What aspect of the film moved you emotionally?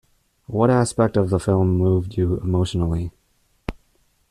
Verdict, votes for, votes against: accepted, 2, 0